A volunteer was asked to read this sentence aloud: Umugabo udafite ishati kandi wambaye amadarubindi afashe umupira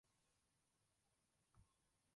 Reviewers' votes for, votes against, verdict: 0, 3, rejected